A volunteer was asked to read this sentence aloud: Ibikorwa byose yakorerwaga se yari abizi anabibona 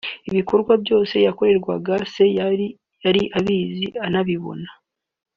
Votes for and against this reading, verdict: 1, 2, rejected